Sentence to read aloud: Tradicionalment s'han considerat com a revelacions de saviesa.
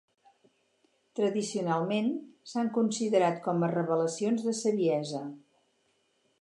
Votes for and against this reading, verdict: 4, 0, accepted